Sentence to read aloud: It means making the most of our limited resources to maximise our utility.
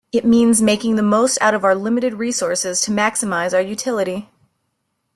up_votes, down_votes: 1, 2